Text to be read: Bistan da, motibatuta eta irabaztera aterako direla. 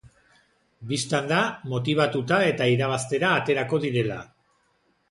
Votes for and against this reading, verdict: 2, 0, accepted